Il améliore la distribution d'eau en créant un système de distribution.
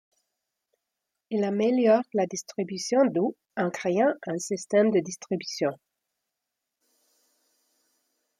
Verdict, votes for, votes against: accepted, 2, 0